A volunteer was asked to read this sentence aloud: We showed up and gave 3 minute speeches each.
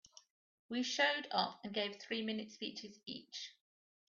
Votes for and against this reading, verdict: 0, 2, rejected